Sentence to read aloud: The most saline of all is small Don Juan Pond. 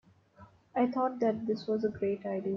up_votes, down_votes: 1, 2